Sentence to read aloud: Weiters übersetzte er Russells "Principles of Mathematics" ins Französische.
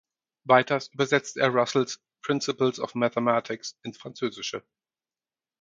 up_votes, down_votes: 2, 4